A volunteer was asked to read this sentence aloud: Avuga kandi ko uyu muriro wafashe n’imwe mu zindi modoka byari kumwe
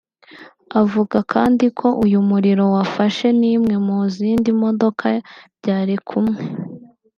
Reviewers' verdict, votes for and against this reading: accepted, 2, 1